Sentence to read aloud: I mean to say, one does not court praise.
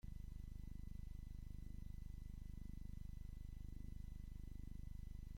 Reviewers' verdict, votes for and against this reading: rejected, 0, 2